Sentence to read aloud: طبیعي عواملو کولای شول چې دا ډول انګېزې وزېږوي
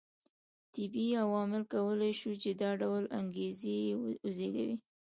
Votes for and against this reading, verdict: 1, 2, rejected